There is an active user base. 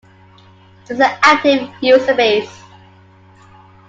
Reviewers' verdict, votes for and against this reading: rejected, 1, 2